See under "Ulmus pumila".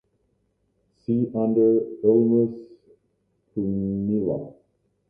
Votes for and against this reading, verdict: 2, 1, accepted